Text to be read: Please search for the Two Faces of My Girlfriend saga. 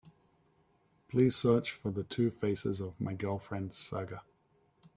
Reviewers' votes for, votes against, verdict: 2, 0, accepted